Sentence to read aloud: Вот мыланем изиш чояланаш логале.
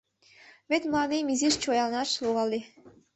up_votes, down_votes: 0, 2